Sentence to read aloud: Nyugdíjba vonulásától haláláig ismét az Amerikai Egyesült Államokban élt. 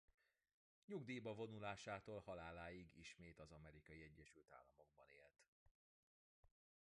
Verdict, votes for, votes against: rejected, 0, 2